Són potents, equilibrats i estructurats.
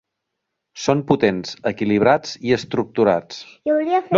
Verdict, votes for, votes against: rejected, 2, 3